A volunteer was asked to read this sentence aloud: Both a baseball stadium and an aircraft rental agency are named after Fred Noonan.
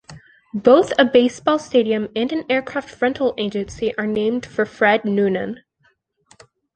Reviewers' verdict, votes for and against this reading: rejected, 0, 2